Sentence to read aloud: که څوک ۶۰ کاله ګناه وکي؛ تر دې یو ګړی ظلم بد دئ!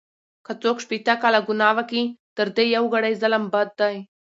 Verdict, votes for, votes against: rejected, 0, 2